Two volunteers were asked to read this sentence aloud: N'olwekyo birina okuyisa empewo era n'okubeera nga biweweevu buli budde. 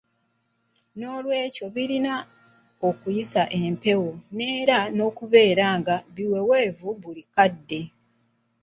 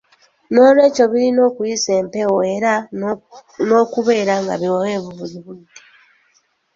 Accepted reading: second